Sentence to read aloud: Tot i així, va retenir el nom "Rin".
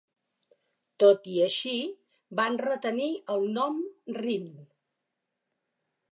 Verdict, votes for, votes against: rejected, 0, 4